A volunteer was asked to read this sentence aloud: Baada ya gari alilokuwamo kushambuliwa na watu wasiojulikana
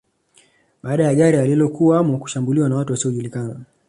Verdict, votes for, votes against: accepted, 2, 0